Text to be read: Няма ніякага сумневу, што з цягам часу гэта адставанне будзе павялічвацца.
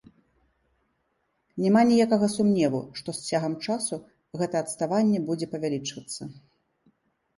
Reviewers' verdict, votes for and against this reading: accepted, 2, 0